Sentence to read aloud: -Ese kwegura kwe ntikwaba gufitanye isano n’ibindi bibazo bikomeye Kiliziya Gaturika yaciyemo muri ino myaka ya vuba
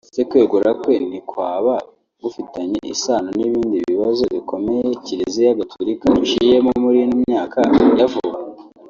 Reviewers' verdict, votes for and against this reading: accepted, 2, 1